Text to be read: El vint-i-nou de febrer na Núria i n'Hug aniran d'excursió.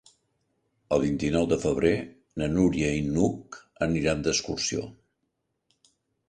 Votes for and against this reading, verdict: 3, 0, accepted